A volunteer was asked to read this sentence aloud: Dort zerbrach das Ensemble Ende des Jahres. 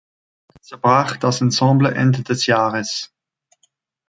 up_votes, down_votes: 1, 2